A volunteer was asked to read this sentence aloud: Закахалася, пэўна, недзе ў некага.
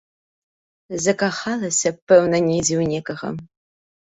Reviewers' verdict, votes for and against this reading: accepted, 2, 0